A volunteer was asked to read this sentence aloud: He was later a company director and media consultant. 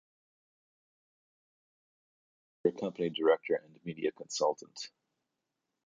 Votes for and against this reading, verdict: 0, 2, rejected